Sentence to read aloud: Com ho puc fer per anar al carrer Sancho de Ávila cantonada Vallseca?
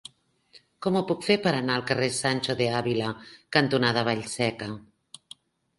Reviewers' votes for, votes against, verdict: 3, 0, accepted